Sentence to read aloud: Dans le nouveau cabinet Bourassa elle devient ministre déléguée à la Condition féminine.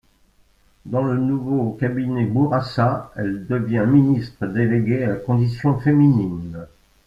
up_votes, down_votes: 2, 1